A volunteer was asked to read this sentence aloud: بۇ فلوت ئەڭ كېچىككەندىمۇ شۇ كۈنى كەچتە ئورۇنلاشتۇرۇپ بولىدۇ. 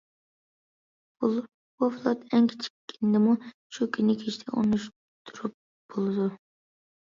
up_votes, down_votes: 0, 2